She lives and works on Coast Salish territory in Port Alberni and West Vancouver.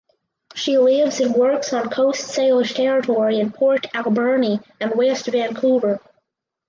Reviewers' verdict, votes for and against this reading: rejected, 2, 4